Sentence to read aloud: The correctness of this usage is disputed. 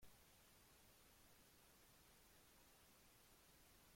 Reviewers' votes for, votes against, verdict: 0, 3, rejected